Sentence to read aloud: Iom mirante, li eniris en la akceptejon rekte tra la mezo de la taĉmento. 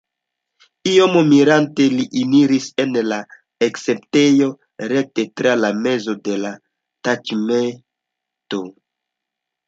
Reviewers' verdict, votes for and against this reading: rejected, 1, 2